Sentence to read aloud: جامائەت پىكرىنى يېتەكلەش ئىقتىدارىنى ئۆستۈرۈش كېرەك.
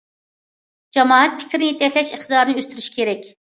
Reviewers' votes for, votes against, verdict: 1, 2, rejected